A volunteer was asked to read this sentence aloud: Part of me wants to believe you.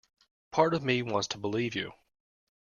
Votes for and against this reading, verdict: 2, 0, accepted